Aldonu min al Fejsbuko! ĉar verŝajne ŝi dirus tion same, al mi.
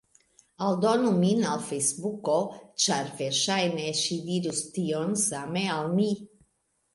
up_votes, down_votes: 2, 0